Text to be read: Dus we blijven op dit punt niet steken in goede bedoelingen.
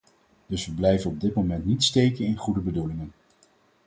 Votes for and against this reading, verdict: 0, 4, rejected